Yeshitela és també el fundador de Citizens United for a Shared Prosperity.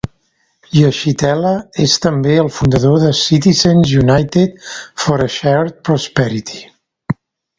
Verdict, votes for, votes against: accepted, 2, 1